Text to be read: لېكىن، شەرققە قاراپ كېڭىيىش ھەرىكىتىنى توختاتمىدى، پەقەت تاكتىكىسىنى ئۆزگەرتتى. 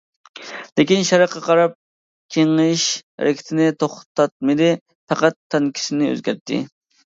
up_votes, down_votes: 0, 2